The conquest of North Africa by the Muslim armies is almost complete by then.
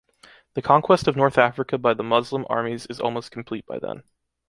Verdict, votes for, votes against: accepted, 2, 0